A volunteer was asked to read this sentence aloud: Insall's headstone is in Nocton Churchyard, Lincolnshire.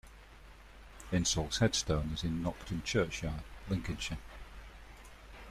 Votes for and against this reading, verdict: 2, 0, accepted